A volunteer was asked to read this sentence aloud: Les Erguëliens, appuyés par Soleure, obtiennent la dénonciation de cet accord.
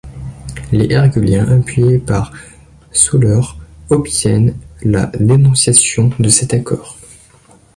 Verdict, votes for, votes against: rejected, 0, 2